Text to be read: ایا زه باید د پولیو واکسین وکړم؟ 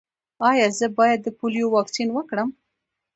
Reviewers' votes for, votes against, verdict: 1, 2, rejected